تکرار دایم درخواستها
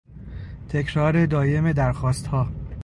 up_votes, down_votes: 2, 0